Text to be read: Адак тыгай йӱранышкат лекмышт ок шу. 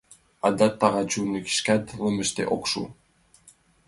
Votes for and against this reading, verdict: 2, 3, rejected